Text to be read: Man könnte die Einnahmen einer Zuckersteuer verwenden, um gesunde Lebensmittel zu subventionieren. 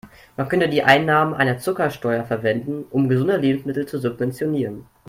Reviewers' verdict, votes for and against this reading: accepted, 2, 0